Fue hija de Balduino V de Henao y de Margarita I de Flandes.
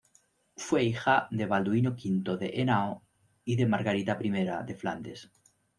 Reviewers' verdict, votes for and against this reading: rejected, 1, 2